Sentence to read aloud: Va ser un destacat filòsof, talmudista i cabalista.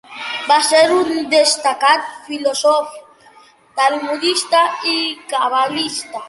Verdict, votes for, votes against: accepted, 2, 0